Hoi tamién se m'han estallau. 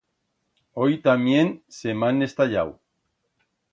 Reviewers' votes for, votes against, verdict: 2, 0, accepted